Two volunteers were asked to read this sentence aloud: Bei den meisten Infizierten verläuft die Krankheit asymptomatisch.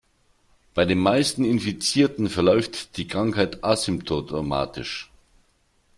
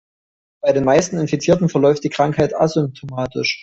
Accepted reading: second